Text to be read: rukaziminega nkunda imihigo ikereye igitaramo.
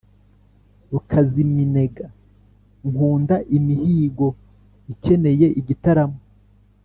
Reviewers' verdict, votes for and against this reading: rejected, 0, 3